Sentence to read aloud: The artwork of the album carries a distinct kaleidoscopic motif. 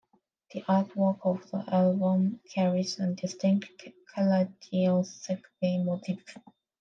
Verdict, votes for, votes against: rejected, 0, 2